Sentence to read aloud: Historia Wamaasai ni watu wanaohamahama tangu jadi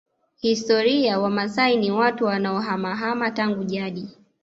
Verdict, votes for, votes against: accepted, 2, 0